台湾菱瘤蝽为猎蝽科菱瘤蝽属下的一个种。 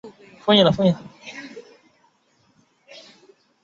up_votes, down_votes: 0, 4